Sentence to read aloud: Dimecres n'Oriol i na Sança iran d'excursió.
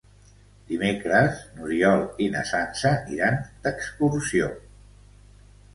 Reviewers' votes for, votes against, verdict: 3, 0, accepted